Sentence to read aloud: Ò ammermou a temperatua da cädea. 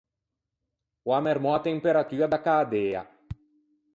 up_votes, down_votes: 4, 0